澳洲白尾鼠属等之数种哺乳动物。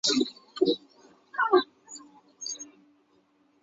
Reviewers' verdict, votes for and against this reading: rejected, 1, 2